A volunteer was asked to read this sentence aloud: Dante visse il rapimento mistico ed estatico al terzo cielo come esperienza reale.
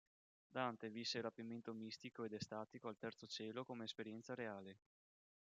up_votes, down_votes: 0, 3